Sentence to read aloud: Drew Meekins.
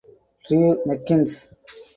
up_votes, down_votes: 0, 4